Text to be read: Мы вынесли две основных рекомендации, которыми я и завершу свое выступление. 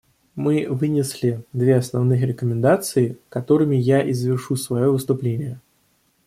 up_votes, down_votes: 2, 0